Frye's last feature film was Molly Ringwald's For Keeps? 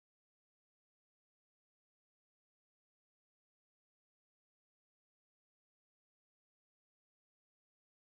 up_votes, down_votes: 0, 2